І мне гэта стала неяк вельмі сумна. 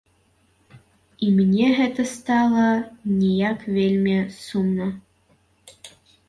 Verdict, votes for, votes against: rejected, 2, 3